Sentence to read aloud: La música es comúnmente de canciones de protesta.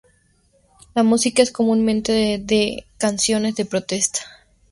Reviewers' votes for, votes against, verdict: 0, 2, rejected